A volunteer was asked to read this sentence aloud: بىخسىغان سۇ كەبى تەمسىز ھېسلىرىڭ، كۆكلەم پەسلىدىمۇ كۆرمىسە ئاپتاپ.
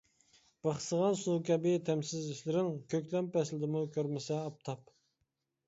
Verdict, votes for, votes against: accepted, 2, 0